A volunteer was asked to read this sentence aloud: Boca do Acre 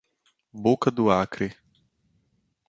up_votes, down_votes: 2, 0